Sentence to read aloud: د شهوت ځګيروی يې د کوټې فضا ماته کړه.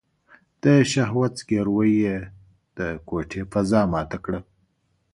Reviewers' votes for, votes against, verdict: 2, 0, accepted